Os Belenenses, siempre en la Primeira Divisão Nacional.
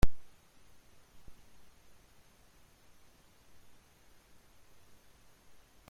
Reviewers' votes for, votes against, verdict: 0, 2, rejected